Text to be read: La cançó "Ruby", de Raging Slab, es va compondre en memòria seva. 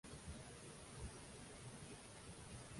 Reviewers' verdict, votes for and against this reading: rejected, 0, 2